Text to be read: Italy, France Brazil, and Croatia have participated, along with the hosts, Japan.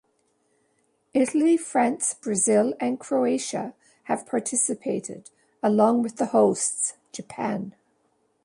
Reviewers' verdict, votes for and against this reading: accepted, 2, 0